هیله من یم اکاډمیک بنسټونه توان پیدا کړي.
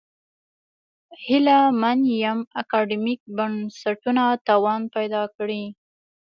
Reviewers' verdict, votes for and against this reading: accepted, 2, 0